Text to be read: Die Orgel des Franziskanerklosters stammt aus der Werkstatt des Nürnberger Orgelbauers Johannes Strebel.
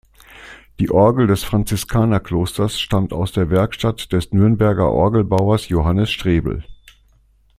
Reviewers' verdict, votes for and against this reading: accepted, 2, 0